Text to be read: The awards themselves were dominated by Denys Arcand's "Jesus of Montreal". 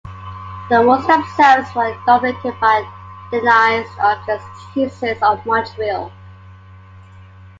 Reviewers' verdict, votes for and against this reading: accepted, 2, 0